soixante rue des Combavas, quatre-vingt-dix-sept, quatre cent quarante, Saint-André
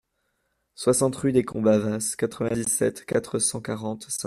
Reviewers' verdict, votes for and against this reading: rejected, 0, 2